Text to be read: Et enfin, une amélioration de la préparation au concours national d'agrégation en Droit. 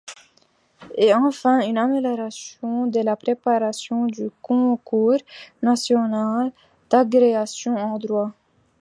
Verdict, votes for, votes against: rejected, 1, 2